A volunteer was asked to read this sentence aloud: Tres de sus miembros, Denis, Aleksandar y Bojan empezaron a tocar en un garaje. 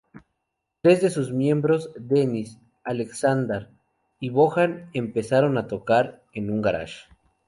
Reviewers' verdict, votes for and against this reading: rejected, 2, 2